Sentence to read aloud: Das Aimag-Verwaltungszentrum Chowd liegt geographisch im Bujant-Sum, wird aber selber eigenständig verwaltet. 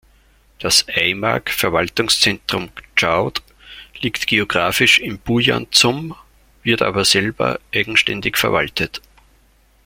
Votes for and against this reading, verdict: 2, 0, accepted